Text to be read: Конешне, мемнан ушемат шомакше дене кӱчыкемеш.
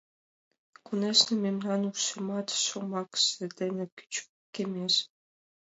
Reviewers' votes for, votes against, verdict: 2, 0, accepted